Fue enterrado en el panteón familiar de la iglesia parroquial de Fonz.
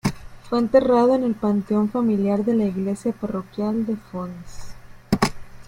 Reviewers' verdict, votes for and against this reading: rejected, 1, 2